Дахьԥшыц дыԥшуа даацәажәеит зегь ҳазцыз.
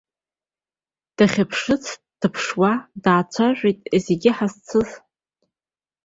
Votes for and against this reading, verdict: 2, 1, accepted